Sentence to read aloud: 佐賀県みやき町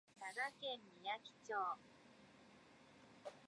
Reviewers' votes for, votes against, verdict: 2, 5, rejected